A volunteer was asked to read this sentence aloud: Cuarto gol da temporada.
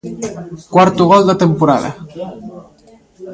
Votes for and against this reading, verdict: 2, 0, accepted